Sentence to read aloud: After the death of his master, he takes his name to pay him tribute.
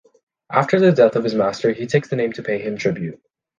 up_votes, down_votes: 2, 0